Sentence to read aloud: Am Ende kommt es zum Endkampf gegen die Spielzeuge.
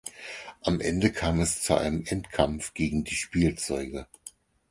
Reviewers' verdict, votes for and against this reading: rejected, 0, 4